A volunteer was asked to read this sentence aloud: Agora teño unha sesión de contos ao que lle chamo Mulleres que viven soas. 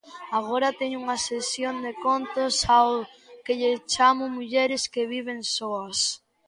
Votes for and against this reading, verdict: 1, 2, rejected